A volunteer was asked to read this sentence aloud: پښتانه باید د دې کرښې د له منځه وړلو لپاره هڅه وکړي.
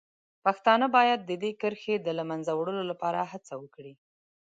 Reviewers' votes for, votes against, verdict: 2, 0, accepted